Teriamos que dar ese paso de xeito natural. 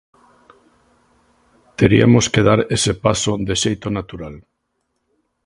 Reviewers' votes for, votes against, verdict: 1, 2, rejected